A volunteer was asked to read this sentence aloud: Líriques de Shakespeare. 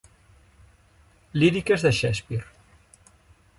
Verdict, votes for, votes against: accepted, 3, 1